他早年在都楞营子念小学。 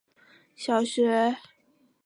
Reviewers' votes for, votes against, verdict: 0, 4, rejected